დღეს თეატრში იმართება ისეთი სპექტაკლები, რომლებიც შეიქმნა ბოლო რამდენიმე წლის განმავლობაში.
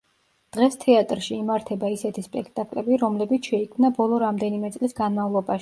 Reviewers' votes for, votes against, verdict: 0, 2, rejected